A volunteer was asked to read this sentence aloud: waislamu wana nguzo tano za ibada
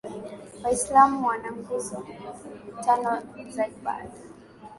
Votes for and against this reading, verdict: 19, 2, accepted